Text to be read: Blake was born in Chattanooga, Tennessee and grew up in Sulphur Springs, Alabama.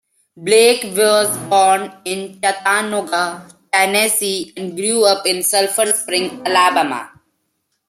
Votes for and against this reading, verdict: 1, 2, rejected